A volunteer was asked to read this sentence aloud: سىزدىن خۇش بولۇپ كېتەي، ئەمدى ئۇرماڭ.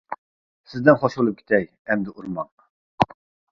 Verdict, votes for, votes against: rejected, 1, 2